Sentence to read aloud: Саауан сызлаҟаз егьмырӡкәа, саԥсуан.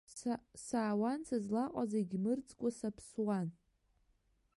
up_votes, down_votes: 0, 2